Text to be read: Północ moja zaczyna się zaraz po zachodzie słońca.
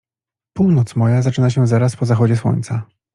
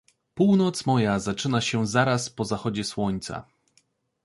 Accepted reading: second